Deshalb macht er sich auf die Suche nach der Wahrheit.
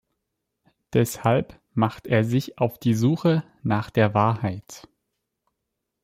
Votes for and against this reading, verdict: 2, 0, accepted